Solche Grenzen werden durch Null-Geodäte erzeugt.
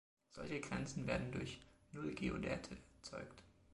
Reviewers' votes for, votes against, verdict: 2, 0, accepted